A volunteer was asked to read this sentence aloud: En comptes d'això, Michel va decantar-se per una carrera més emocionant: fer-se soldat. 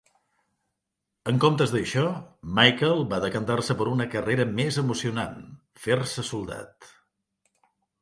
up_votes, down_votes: 0, 2